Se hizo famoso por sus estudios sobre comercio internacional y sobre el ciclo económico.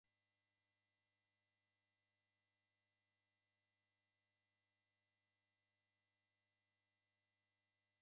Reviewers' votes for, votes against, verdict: 0, 2, rejected